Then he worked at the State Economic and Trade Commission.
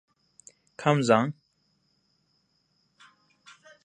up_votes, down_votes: 0, 2